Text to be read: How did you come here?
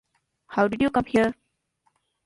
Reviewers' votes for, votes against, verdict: 0, 2, rejected